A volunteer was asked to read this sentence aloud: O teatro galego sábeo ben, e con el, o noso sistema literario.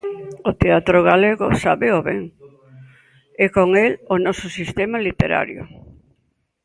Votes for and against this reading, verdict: 2, 0, accepted